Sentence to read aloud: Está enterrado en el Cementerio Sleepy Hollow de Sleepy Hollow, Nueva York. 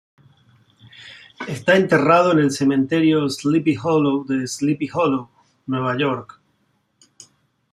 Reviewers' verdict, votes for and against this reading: accepted, 2, 1